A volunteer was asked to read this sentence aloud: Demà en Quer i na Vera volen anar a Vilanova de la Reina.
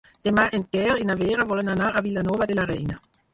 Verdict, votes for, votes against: rejected, 0, 4